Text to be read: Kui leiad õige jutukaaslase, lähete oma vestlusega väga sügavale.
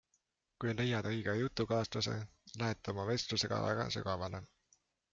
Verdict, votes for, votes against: accepted, 3, 0